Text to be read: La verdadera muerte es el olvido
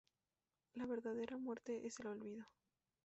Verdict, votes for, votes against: rejected, 0, 2